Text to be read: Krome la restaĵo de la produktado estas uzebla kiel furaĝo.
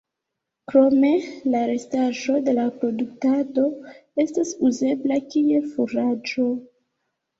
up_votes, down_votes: 1, 2